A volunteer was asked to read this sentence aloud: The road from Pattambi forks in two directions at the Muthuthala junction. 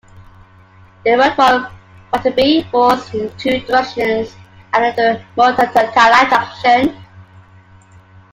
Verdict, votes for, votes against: rejected, 1, 2